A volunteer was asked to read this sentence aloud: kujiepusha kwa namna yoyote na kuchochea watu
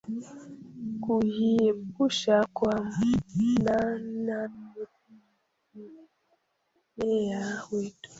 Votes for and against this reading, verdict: 0, 2, rejected